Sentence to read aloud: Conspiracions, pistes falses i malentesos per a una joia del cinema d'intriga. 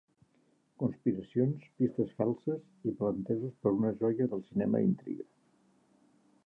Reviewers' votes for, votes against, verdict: 1, 2, rejected